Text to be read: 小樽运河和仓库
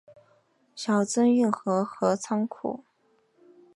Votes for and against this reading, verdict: 3, 0, accepted